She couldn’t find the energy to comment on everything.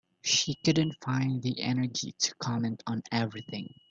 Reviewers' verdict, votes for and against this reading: accepted, 2, 0